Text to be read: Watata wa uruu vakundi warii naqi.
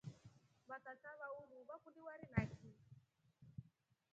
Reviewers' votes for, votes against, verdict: 0, 2, rejected